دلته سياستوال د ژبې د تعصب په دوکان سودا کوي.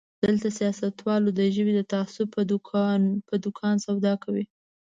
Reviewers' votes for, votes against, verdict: 0, 2, rejected